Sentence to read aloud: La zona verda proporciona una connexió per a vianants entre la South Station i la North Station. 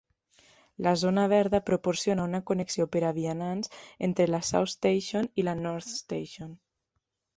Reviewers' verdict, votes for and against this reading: accepted, 2, 0